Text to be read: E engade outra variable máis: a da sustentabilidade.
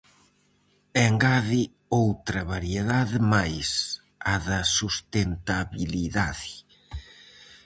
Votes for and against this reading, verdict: 0, 4, rejected